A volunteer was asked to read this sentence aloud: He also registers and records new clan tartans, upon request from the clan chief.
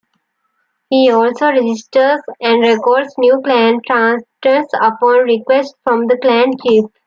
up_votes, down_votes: 1, 2